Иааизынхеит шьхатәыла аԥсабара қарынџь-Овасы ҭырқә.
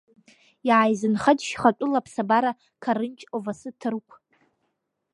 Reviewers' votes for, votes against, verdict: 2, 1, accepted